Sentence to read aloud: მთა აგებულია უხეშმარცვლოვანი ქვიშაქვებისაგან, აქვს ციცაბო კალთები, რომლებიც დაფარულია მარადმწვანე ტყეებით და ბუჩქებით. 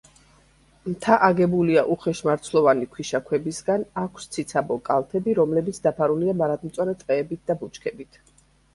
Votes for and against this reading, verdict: 2, 0, accepted